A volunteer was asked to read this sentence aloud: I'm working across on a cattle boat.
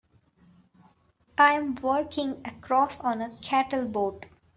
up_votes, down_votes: 3, 1